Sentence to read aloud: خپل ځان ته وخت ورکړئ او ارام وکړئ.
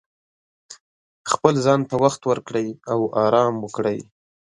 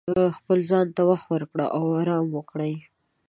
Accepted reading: first